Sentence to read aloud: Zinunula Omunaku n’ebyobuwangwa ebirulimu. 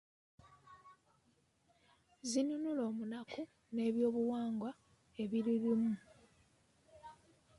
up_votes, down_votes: 2, 1